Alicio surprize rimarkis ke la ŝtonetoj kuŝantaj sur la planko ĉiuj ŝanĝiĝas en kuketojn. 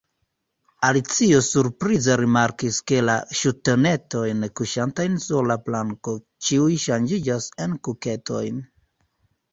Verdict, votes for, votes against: accepted, 2, 0